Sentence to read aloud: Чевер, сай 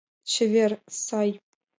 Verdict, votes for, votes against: accepted, 3, 0